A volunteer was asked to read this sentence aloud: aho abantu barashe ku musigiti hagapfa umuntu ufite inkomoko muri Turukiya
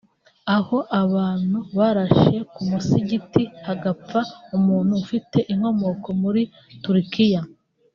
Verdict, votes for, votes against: accepted, 2, 0